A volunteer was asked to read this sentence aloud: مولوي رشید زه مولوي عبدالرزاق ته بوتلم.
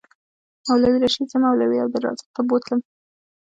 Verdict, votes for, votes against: rejected, 0, 2